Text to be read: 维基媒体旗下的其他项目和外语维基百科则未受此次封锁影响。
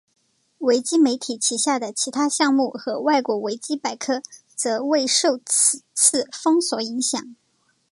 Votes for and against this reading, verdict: 1, 2, rejected